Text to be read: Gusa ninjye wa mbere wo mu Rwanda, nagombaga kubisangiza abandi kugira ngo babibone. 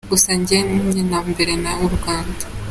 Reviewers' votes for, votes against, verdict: 0, 2, rejected